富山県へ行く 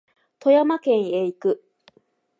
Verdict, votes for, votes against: accepted, 3, 0